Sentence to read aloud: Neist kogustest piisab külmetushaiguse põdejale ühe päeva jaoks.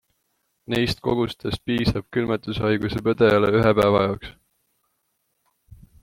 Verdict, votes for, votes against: accepted, 2, 0